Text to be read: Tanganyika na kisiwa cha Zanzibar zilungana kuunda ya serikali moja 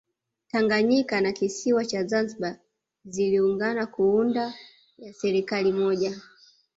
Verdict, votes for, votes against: rejected, 1, 2